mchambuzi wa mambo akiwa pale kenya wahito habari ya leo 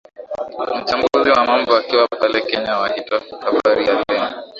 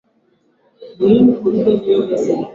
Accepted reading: first